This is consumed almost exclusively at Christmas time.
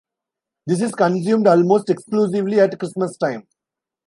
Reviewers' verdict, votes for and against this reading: accepted, 2, 0